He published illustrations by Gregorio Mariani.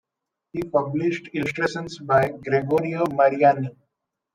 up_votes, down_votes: 0, 2